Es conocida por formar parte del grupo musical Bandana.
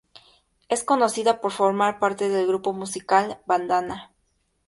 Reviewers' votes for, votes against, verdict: 2, 0, accepted